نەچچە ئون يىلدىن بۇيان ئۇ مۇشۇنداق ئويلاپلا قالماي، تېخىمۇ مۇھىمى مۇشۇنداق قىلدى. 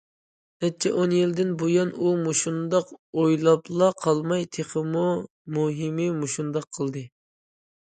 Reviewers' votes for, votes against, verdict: 2, 0, accepted